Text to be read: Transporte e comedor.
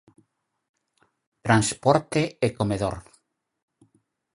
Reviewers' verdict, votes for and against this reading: accepted, 4, 0